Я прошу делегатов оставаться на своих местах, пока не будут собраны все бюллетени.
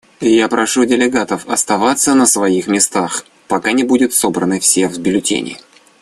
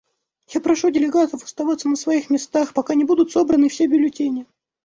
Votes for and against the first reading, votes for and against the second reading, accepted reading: 0, 2, 2, 0, second